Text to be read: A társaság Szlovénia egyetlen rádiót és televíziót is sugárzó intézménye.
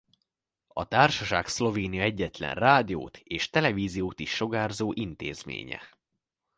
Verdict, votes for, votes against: accepted, 2, 1